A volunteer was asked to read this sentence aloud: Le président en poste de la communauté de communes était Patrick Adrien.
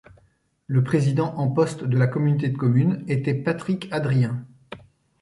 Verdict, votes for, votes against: accepted, 2, 0